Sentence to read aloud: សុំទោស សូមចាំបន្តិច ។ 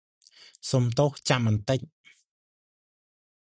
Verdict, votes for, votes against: rejected, 0, 2